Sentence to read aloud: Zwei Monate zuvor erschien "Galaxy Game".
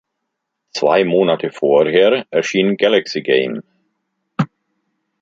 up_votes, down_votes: 0, 2